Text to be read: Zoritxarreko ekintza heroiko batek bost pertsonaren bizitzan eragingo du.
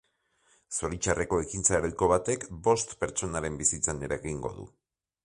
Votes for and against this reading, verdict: 2, 0, accepted